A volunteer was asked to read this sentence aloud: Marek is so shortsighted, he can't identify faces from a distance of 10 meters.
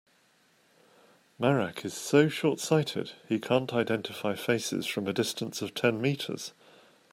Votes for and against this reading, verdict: 0, 2, rejected